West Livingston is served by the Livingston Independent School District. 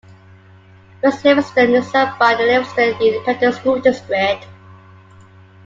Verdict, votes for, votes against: accepted, 2, 1